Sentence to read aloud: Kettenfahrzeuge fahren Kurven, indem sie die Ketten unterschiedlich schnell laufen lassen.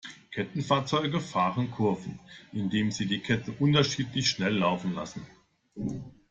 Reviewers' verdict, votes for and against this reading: accepted, 2, 1